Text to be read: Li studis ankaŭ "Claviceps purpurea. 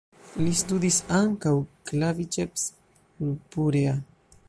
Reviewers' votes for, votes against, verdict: 0, 2, rejected